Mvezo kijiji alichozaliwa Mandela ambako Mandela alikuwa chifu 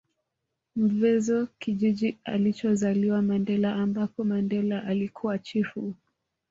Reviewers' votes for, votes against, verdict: 1, 2, rejected